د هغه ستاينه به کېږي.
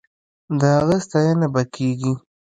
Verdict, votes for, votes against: accepted, 2, 0